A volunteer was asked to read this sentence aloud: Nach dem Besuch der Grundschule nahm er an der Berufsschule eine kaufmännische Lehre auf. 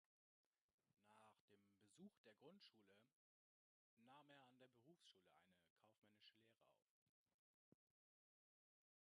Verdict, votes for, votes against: rejected, 0, 2